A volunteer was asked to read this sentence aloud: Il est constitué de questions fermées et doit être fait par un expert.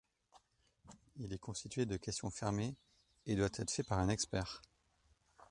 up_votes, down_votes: 2, 1